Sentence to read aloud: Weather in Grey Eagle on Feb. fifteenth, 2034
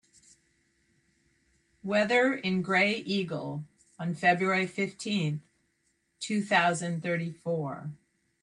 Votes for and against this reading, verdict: 0, 2, rejected